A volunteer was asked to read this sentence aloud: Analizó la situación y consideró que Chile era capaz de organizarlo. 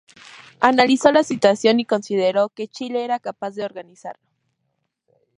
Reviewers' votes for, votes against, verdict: 2, 0, accepted